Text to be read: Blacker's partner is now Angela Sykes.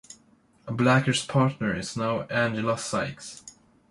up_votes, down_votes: 0, 2